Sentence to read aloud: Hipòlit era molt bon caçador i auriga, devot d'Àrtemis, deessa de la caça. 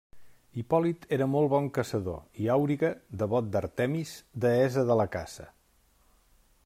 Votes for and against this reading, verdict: 0, 2, rejected